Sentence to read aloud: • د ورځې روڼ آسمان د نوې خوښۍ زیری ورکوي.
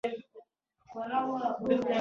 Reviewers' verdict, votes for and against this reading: rejected, 1, 2